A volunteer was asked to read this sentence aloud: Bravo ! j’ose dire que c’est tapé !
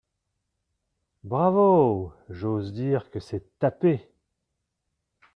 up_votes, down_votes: 2, 0